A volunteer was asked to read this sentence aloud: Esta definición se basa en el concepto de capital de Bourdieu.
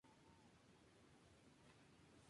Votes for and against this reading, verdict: 2, 4, rejected